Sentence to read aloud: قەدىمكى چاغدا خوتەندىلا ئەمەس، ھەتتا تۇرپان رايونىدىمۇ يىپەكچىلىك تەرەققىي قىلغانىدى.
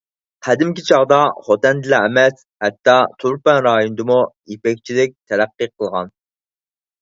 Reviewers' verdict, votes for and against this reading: rejected, 2, 4